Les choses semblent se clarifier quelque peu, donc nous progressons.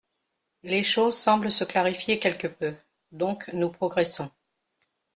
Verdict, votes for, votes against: accepted, 2, 0